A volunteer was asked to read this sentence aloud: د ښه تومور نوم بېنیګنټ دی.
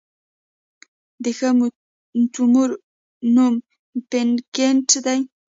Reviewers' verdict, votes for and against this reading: rejected, 0, 2